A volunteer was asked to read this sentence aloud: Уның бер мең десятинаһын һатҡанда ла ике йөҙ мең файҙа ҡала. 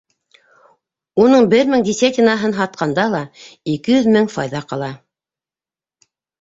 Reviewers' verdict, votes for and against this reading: rejected, 1, 2